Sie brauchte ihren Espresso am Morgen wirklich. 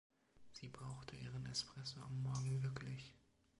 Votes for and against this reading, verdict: 0, 2, rejected